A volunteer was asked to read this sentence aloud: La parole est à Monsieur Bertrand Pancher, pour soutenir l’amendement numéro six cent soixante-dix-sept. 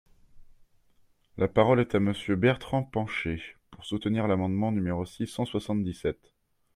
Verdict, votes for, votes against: accepted, 2, 0